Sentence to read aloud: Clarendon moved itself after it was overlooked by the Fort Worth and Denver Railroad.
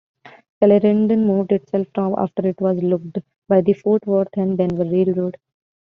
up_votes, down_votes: 0, 2